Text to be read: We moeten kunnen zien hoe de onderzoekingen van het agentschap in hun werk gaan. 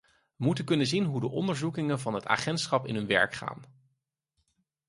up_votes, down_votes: 0, 4